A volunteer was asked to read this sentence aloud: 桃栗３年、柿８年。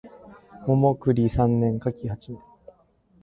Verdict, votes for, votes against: rejected, 0, 2